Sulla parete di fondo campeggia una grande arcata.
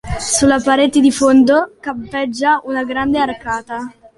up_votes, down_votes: 2, 0